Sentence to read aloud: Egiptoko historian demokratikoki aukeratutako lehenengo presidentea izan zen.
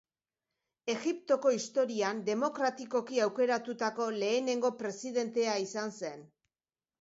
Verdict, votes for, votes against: accepted, 5, 0